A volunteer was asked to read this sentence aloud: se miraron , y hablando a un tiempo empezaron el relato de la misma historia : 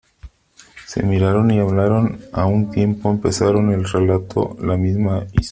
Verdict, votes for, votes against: rejected, 0, 2